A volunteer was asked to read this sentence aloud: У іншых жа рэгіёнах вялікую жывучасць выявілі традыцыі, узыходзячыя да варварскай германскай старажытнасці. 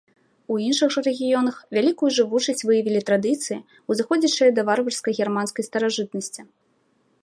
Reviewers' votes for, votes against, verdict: 2, 0, accepted